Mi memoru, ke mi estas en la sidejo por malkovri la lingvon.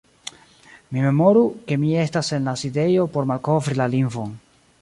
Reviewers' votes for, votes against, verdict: 2, 0, accepted